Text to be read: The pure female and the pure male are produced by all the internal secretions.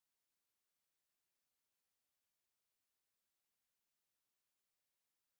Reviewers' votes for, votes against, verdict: 0, 2, rejected